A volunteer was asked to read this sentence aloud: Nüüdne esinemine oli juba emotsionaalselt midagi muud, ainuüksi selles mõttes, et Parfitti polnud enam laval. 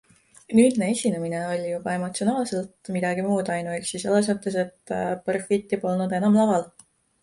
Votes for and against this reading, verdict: 1, 2, rejected